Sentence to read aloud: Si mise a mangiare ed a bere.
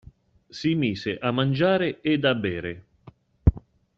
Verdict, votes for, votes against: accepted, 2, 0